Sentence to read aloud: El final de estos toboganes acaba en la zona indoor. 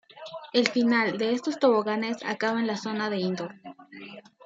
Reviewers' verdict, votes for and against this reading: rejected, 1, 2